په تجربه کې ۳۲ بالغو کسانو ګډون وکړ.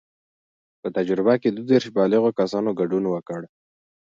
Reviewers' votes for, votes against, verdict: 0, 2, rejected